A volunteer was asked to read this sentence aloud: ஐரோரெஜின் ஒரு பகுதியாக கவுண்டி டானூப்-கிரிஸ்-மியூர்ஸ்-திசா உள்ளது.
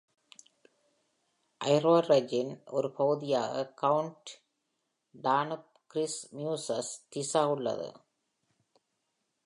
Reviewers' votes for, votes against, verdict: 1, 2, rejected